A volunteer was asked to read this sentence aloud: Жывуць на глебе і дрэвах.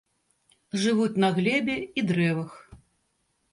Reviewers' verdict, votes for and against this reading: accepted, 2, 0